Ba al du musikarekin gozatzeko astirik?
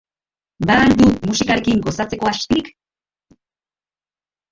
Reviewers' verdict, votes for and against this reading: rejected, 0, 2